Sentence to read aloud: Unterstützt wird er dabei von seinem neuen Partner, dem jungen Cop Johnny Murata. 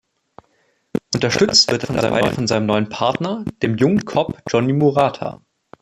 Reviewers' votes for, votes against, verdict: 0, 2, rejected